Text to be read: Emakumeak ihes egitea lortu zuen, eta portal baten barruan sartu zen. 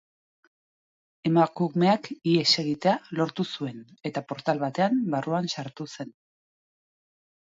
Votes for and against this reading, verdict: 0, 2, rejected